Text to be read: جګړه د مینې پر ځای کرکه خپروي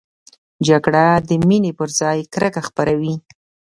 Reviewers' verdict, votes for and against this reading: accepted, 2, 0